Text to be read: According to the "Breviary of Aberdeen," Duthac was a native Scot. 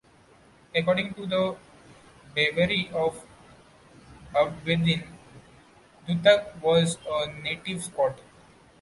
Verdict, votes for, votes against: rejected, 1, 2